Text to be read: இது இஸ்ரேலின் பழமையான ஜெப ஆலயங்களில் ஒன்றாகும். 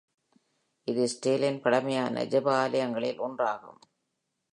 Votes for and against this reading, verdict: 2, 1, accepted